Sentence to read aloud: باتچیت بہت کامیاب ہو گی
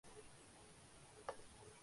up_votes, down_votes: 1, 2